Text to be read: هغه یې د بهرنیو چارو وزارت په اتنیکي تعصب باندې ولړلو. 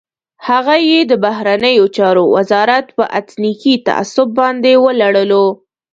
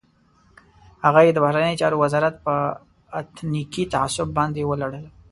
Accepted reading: first